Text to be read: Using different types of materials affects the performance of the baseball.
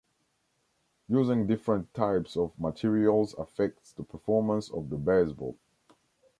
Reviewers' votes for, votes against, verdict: 2, 1, accepted